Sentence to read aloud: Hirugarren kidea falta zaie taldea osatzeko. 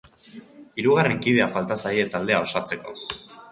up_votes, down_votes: 1, 2